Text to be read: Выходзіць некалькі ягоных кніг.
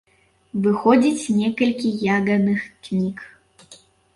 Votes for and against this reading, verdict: 0, 2, rejected